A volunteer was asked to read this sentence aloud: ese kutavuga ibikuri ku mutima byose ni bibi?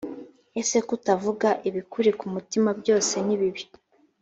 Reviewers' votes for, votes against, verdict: 2, 0, accepted